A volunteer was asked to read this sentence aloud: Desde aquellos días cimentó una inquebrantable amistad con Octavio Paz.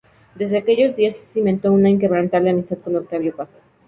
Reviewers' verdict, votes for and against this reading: accepted, 4, 2